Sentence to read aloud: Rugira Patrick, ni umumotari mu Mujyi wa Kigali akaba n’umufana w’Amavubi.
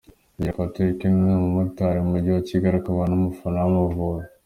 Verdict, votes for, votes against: accepted, 2, 1